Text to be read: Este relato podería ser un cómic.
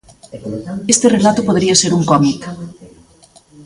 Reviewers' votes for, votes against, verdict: 1, 2, rejected